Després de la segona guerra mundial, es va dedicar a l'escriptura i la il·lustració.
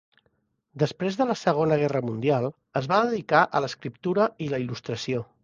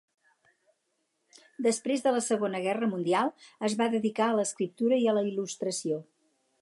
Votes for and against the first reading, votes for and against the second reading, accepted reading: 3, 0, 0, 2, first